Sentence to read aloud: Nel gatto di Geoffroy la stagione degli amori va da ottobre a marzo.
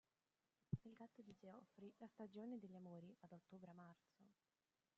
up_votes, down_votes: 0, 2